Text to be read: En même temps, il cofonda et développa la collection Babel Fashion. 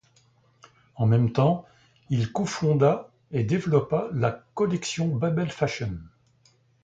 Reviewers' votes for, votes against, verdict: 2, 0, accepted